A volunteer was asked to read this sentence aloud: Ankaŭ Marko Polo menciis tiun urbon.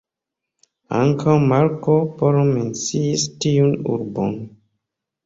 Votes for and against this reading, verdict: 0, 2, rejected